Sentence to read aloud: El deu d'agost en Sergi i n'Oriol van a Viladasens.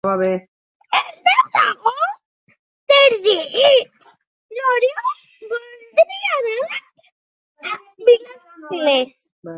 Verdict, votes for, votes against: rejected, 0, 4